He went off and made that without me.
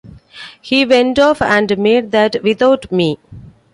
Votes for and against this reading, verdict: 2, 0, accepted